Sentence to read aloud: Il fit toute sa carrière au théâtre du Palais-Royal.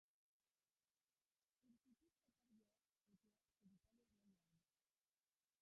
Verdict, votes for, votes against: rejected, 0, 2